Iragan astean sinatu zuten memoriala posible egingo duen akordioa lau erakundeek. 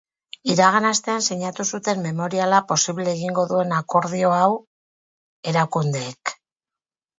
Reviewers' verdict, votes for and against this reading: rejected, 0, 8